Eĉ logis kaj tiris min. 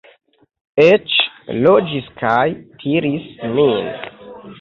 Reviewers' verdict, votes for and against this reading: rejected, 0, 2